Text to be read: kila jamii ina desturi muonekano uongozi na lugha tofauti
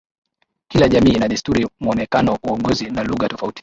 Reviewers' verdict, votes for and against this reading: accepted, 7, 5